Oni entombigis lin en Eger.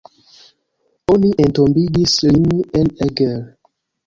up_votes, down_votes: 2, 0